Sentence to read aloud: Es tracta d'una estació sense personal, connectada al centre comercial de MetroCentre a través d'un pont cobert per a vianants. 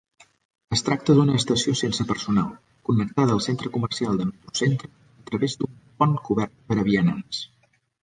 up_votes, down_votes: 1, 2